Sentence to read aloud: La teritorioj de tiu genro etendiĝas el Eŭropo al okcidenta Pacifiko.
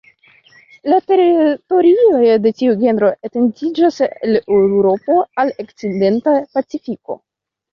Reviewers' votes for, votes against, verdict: 0, 2, rejected